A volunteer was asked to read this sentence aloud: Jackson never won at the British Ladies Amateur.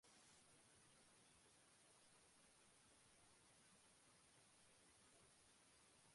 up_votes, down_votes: 1, 2